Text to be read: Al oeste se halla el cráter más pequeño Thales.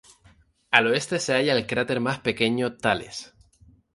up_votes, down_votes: 1, 2